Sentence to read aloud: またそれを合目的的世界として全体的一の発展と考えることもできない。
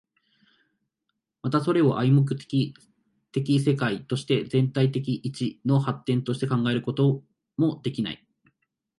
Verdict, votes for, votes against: rejected, 1, 2